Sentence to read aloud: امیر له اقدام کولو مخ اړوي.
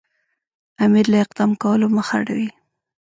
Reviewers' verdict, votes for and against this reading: accepted, 2, 0